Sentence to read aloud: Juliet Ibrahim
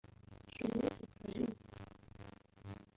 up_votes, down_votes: 0, 2